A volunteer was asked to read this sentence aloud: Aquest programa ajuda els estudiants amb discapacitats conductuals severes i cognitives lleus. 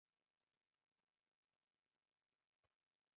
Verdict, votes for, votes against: rejected, 0, 2